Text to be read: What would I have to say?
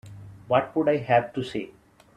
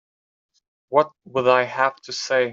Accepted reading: first